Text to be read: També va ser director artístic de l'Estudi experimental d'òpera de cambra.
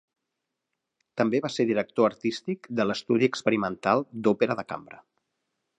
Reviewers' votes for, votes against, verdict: 1, 2, rejected